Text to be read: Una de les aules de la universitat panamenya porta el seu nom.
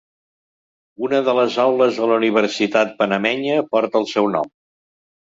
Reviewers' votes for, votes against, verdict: 2, 0, accepted